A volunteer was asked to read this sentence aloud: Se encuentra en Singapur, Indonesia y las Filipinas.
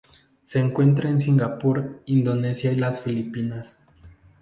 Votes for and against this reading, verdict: 4, 0, accepted